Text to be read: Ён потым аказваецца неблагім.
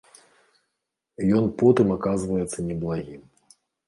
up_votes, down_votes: 2, 1